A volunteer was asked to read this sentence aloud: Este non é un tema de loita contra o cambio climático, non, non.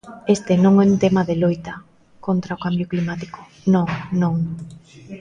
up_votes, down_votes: 2, 0